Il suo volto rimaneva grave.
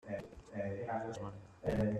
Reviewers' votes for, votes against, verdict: 0, 2, rejected